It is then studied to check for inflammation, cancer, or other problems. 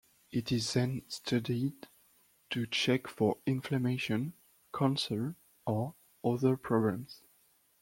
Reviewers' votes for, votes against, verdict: 2, 0, accepted